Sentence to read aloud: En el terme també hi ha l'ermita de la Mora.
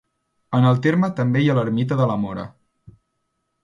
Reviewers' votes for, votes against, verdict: 2, 0, accepted